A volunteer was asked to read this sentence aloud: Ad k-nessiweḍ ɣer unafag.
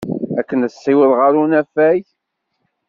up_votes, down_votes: 1, 2